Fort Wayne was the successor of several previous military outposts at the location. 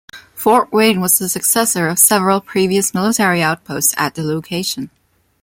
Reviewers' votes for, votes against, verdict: 2, 0, accepted